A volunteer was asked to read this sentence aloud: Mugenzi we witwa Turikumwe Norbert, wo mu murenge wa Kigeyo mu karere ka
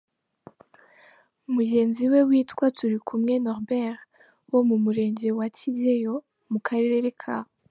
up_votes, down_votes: 2, 0